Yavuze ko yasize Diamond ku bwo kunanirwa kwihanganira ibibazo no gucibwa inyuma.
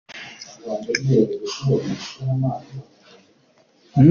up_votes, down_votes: 0, 2